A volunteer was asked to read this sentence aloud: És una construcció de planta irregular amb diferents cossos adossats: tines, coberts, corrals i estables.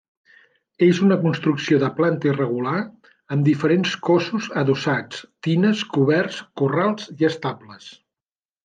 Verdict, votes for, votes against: accepted, 2, 0